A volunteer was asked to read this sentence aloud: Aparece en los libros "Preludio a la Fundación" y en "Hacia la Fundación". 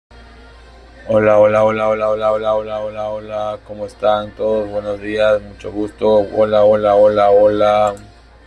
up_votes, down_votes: 0, 2